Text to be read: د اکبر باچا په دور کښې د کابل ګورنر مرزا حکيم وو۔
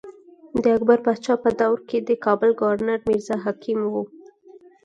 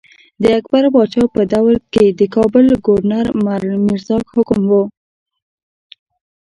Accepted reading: first